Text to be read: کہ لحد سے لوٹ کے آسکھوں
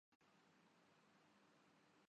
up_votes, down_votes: 1, 2